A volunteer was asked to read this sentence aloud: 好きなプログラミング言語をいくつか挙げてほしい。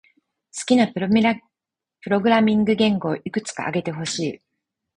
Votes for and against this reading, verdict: 4, 0, accepted